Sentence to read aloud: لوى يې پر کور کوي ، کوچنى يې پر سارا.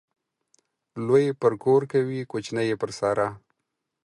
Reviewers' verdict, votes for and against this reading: accepted, 4, 0